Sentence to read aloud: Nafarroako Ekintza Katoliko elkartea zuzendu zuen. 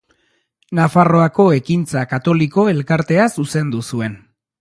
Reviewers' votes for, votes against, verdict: 2, 0, accepted